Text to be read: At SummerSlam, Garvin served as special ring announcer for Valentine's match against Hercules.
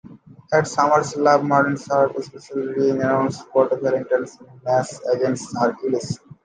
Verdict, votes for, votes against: rejected, 0, 2